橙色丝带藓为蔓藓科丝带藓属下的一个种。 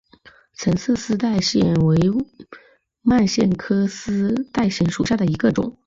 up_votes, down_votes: 0, 2